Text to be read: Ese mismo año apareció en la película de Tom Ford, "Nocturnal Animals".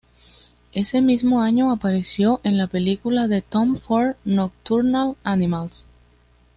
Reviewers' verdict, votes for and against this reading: accepted, 2, 0